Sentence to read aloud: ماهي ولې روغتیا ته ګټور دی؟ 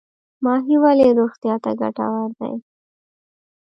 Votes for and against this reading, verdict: 1, 2, rejected